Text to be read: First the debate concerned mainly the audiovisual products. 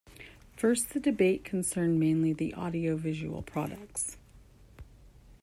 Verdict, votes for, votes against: accepted, 2, 0